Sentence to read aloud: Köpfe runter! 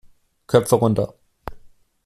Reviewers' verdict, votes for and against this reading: accepted, 2, 0